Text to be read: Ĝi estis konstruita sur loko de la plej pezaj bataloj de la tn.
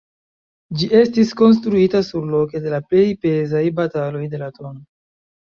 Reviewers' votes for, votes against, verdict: 0, 2, rejected